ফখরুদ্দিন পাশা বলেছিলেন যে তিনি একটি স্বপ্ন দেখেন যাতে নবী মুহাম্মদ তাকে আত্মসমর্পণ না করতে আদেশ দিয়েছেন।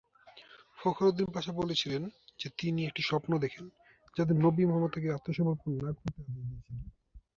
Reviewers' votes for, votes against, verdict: 0, 2, rejected